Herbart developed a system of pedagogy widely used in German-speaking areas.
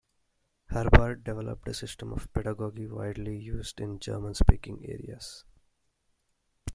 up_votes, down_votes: 2, 0